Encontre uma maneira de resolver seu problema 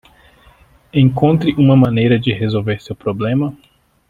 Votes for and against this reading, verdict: 2, 1, accepted